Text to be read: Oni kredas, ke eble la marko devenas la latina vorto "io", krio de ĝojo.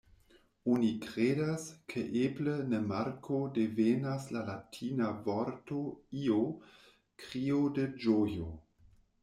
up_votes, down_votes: 2, 0